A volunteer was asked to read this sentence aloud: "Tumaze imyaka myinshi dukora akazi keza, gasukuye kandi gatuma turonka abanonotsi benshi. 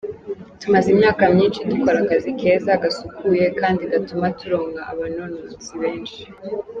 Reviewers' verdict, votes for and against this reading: accepted, 2, 0